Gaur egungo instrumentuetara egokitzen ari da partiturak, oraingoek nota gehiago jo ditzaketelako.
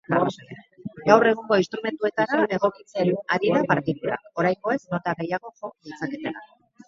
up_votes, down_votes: 0, 4